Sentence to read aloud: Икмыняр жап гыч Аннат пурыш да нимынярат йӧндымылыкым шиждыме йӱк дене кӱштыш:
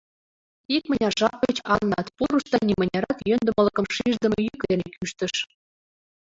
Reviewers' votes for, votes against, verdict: 1, 2, rejected